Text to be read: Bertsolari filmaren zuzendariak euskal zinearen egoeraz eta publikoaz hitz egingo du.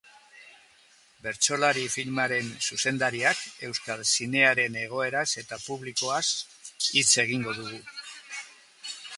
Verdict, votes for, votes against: rejected, 1, 2